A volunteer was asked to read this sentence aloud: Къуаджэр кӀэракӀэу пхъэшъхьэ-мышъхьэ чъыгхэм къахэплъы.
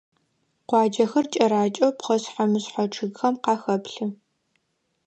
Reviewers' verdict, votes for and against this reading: rejected, 1, 2